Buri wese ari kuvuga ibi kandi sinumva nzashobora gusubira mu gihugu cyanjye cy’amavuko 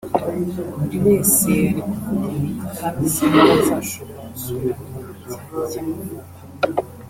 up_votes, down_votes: 1, 2